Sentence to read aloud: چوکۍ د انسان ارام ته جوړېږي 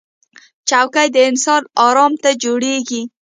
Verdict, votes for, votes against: accepted, 2, 1